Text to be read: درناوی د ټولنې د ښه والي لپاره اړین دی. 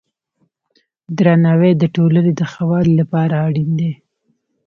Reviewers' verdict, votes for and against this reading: accepted, 2, 0